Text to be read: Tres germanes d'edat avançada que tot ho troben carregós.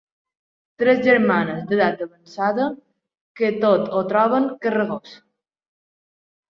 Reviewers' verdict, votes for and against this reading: rejected, 1, 2